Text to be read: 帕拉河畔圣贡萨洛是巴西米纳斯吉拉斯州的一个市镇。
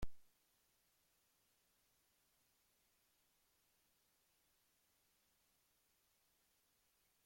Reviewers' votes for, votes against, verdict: 0, 2, rejected